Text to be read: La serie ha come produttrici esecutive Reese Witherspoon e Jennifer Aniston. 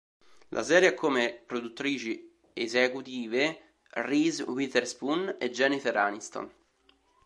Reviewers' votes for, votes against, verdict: 2, 0, accepted